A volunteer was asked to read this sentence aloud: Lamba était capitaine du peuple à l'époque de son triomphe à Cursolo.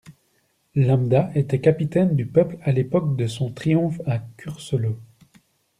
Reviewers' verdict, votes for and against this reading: rejected, 1, 2